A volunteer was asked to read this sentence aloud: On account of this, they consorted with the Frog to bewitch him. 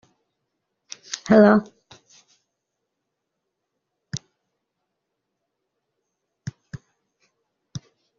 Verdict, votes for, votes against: rejected, 0, 2